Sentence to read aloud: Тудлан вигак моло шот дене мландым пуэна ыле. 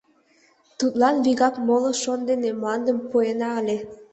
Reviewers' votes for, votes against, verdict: 2, 0, accepted